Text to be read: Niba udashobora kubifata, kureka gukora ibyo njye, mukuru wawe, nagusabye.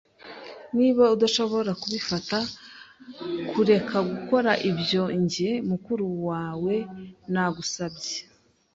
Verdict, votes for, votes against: accepted, 3, 0